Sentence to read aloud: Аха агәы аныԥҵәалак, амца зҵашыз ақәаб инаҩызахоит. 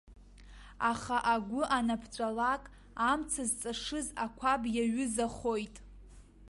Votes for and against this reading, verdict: 2, 0, accepted